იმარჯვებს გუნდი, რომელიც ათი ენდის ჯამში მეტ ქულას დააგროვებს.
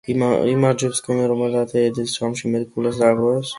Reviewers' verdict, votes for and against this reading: rejected, 0, 2